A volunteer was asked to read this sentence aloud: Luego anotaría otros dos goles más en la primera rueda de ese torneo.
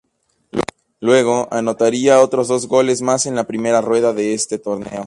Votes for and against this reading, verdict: 4, 0, accepted